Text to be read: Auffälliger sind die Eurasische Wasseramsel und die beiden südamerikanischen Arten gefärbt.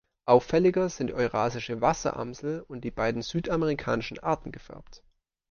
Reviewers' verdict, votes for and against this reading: rejected, 0, 2